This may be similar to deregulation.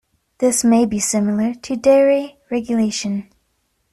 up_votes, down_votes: 0, 2